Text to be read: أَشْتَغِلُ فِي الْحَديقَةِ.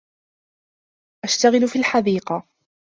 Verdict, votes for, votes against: accepted, 2, 0